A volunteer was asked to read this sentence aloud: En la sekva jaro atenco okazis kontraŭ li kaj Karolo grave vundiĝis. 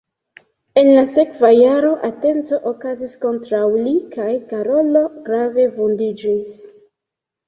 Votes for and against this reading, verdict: 2, 0, accepted